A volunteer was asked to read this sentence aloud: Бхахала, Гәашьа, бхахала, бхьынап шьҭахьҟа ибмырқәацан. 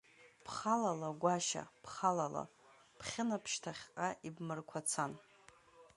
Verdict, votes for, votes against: rejected, 0, 2